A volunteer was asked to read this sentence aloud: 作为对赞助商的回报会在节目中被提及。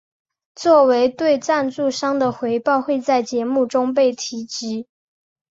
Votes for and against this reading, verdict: 2, 0, accepted